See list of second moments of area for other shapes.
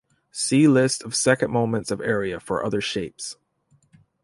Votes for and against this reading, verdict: 1, 2, rejected